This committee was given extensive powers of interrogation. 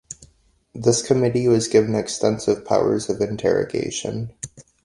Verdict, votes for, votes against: accepted, 2, 0